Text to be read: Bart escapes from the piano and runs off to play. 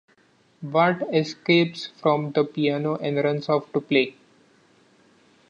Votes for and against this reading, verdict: 2, 0, accepted